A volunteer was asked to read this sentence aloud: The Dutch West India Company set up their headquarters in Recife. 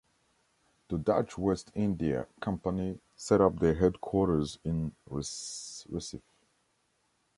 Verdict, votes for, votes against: rejected, 0, 2